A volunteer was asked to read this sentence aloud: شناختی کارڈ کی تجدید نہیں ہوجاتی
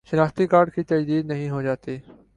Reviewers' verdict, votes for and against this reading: accepted, 2, 0